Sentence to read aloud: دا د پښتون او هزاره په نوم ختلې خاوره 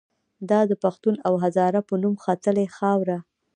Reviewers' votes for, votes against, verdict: 1, 2, rejected